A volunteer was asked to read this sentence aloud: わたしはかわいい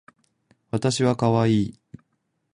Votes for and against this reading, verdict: 2, 0, accepted